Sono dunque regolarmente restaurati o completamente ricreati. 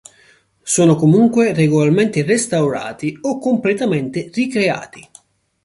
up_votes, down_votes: 0, 2